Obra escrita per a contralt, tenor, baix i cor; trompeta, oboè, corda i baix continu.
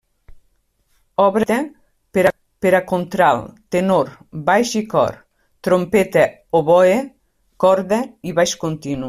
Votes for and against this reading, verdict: 1, 2, rejected